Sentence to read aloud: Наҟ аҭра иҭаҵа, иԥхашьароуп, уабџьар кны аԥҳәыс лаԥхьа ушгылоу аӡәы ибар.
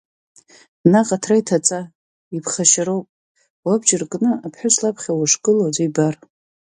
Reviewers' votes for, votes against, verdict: 2, 0, accepted